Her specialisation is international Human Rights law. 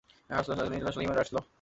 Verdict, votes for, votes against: rejected, 0, 2